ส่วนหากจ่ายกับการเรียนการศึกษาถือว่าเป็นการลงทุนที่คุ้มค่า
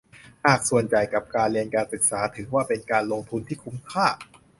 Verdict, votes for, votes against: rejected, 0, 2